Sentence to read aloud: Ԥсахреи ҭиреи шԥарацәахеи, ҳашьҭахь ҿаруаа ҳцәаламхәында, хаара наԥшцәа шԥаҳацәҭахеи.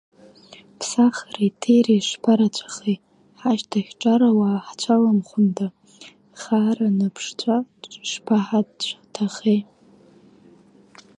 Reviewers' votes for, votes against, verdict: 2, 1, accepted